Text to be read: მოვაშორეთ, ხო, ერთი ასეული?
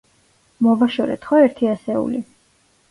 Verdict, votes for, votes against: rejected, 1, 2